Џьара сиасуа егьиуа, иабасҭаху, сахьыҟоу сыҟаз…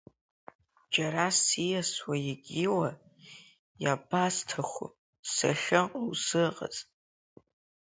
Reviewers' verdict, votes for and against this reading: rejected, 2, 3